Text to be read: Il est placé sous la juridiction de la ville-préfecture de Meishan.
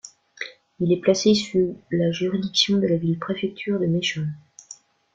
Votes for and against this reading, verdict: 1, 2, rejected